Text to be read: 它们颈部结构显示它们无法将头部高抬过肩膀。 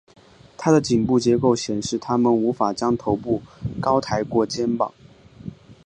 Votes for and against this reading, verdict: 2, 0, accepted